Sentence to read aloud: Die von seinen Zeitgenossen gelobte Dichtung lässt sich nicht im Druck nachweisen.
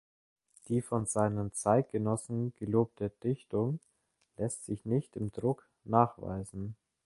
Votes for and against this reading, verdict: 2, 0, accepted